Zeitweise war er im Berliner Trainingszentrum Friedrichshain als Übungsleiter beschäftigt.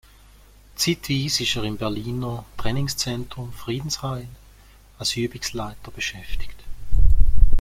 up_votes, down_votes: 1, 2